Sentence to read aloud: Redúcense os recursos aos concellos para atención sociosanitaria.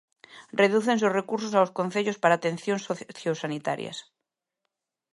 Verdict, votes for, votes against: rejected, 0, 2